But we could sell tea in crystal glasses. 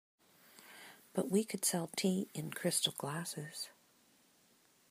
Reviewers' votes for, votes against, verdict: 2, 0, accepted